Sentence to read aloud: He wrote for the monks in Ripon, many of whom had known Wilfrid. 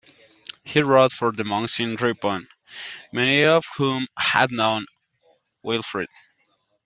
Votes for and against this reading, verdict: 2, 0, accepted